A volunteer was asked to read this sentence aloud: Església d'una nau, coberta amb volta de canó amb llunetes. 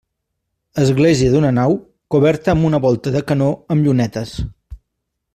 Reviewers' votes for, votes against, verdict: 0, 2, rejected